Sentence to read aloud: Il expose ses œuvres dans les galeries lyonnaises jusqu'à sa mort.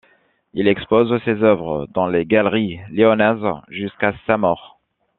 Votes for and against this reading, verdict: 2, 0, accepted